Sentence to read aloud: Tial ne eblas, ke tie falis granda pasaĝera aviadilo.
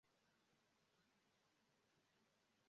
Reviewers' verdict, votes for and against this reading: rejected, 1, 2